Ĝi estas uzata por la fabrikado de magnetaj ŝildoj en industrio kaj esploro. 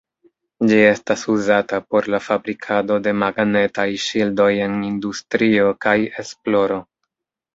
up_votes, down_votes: 1, 2